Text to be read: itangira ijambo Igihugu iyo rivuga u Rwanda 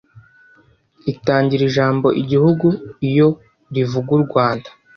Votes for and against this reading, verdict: 2, 0, accepted